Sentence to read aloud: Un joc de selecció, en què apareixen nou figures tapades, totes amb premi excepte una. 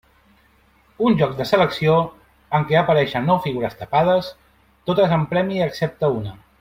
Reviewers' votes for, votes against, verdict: 2, 0, accepted